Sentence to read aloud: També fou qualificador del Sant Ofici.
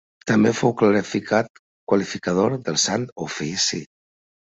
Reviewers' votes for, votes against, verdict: 0, 2, rejected